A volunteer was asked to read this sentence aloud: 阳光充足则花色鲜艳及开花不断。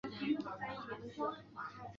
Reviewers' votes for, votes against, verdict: 1, 2, rejected